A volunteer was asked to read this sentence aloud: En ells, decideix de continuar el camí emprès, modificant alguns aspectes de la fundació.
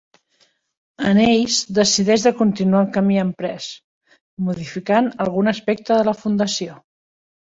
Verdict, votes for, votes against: rejected, 1, 2